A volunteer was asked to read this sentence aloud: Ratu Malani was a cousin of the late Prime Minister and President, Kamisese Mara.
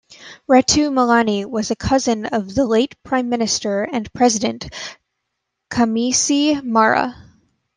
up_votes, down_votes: 1, 2